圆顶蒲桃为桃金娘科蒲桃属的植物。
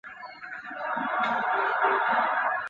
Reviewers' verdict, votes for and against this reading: rejected, 0, 3